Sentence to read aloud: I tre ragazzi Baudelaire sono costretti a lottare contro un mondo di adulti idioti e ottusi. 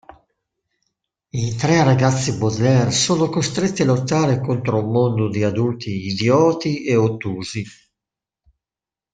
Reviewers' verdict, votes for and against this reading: accepted, 2, 0